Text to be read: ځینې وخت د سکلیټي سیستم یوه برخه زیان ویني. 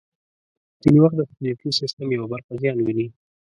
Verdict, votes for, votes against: rejected, 0, 3